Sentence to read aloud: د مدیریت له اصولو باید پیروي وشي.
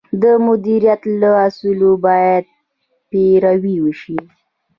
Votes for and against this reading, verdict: 2, 0, accepted